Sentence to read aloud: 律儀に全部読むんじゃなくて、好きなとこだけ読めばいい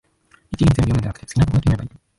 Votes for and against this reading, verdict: 0, 2, rejected